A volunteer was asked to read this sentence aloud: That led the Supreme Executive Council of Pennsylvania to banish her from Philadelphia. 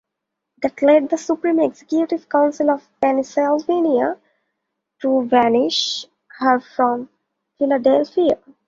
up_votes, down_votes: 2, 0